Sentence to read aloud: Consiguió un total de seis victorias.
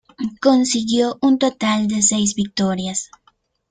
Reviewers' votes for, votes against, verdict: 2, 0, accepted